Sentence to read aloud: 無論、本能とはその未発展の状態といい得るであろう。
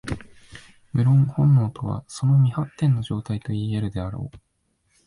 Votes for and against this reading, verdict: 2, 0, accepted